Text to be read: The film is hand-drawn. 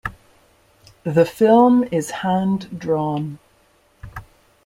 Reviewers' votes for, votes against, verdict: 2, 0, accepted